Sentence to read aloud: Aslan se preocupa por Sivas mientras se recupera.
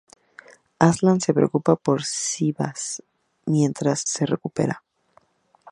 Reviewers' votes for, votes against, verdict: 2, 0, accepted